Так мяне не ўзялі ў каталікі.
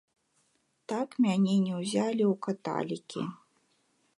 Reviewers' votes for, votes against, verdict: 0, 2, rejected